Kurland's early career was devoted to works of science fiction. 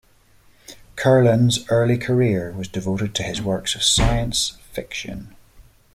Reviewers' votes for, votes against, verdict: 0, 2, rejected